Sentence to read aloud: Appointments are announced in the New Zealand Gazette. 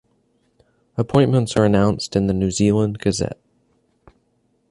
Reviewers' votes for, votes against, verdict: 3, 0, accepted